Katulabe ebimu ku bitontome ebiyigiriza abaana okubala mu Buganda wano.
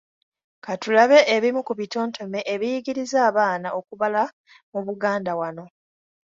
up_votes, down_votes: 2, 0